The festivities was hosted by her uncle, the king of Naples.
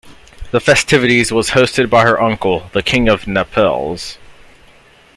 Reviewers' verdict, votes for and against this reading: rejected, 0, 2